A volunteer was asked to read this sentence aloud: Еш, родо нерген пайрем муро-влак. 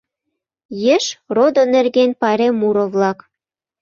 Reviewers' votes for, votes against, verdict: 2, 0, accepted